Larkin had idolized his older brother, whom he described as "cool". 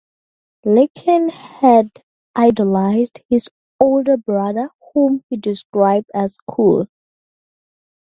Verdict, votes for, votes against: accepted, 2, 0